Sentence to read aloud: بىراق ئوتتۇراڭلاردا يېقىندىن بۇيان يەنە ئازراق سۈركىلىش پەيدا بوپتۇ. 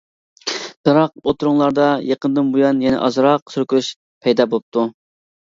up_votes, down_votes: 2, 0